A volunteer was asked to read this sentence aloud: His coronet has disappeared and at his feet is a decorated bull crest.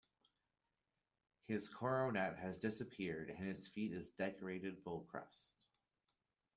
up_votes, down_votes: 1, 2